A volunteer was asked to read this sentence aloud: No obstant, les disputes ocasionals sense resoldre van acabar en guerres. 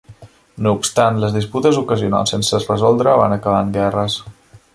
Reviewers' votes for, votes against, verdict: 0, 2, rejected